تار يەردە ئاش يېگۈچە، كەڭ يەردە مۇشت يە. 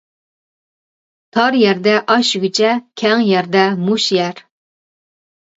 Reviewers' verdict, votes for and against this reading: rejected, 0, 2